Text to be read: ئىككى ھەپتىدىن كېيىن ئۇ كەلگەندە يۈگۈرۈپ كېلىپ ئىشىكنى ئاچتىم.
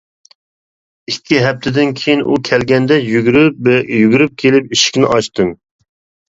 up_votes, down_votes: 0, 2